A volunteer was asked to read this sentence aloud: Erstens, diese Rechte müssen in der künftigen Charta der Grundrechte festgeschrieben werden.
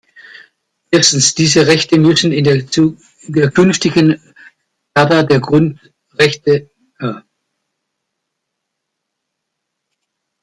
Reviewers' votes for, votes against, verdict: 0, 2, rejected